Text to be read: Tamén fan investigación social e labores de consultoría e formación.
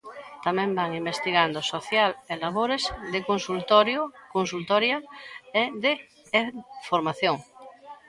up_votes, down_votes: 0, 2